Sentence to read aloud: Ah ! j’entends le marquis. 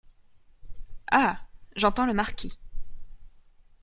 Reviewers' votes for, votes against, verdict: 2, 1, accepted